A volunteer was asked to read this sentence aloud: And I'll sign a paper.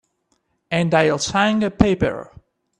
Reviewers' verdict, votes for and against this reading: accepted, 2, 0